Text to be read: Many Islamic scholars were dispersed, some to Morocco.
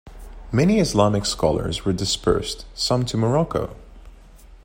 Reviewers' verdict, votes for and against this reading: accepted, 2, 0